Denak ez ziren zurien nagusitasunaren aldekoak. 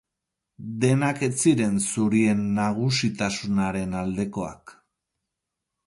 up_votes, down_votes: 2, 2